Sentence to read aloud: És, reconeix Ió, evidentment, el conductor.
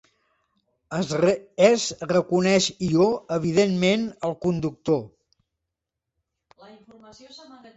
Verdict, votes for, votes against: rejected, 0, 2